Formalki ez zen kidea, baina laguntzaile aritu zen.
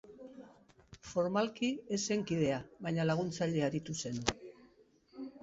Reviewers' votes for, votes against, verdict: 2, 0, accepted